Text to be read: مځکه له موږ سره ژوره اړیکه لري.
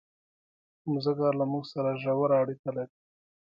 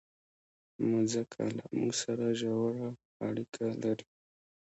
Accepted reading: first